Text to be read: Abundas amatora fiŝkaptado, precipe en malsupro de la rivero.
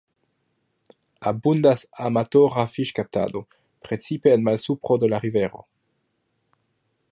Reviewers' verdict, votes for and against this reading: accepted, 2, 0